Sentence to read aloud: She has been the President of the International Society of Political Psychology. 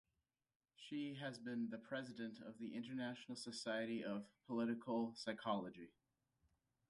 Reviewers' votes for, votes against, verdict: 1, 2, rejected